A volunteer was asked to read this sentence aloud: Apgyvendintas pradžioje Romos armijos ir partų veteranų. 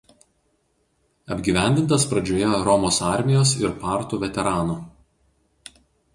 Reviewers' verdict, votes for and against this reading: rejected, 0, 2